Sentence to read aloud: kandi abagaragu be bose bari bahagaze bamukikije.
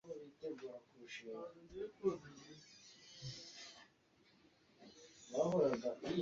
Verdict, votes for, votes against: rejected, 1, 2